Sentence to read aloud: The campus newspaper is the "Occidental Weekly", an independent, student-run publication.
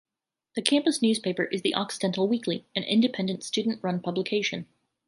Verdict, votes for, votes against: accepted, 2, 1